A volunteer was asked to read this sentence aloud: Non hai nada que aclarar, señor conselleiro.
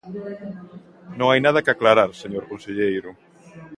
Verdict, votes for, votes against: rejected, 0, 2